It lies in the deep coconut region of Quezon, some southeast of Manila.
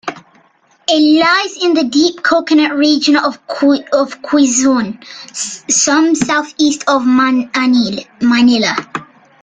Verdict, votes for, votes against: rejected, 1, 2